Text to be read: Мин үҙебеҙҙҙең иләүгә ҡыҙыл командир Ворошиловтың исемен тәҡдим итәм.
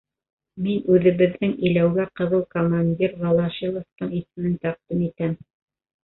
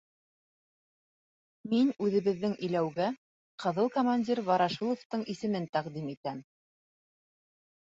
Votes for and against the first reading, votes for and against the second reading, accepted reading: 1, 2, 3, 0, second